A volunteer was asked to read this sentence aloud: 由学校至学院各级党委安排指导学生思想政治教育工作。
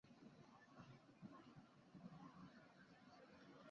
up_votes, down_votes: 2, 3